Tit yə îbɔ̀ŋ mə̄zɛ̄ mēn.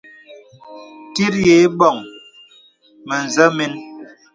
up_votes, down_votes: 2, 0